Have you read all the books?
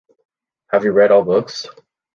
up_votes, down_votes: 0, 3